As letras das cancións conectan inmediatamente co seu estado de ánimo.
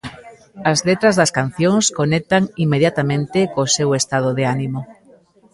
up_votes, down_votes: 2, 0